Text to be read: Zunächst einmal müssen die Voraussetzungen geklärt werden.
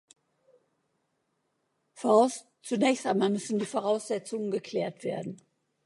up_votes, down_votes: 1, 2